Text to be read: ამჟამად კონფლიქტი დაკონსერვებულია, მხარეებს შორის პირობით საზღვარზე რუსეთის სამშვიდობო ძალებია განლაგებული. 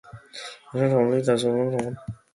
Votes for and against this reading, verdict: 0, 2, rejected